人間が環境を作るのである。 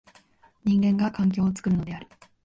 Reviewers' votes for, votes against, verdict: 0, 2, rejected